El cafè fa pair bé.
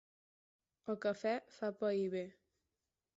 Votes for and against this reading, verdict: 4, 0, accepted